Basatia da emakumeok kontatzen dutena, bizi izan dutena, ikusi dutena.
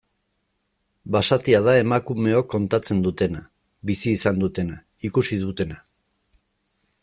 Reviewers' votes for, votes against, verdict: 2, 0, accepted